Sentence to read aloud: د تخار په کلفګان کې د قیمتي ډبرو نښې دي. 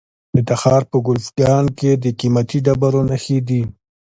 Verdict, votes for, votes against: accepted, 2, 0